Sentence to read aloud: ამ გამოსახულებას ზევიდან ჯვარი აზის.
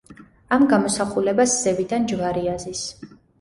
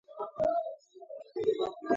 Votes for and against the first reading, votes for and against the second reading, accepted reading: 2, 0, 0, 2, first